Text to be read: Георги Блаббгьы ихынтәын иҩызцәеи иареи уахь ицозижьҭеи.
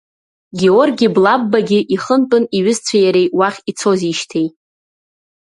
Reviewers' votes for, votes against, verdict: 1, 2, rejected